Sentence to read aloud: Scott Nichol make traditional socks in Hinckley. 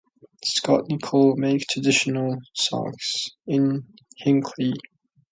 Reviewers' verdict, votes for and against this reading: rejected, 1, 2